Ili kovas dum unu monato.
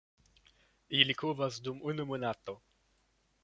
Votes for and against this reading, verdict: 2, 1, accepted